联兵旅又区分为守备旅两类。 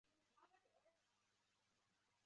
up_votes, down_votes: 0, 2